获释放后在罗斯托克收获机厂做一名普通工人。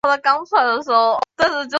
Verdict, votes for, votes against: rejected, 0, 3